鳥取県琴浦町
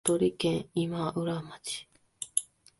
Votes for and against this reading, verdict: 0, 2, rejected